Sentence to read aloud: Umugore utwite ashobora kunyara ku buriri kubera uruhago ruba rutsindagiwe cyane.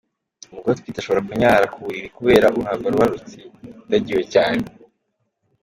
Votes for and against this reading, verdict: 2, 1, accepted